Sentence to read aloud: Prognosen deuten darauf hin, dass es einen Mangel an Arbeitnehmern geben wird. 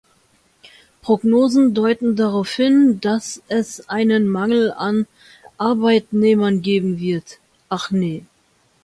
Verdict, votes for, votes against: rejected, 0, 2